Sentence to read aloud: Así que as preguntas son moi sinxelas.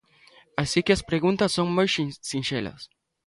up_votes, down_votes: 0, 2